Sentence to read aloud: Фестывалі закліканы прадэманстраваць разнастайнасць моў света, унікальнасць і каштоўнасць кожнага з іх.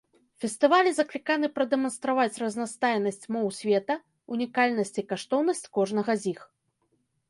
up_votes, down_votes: 1, 2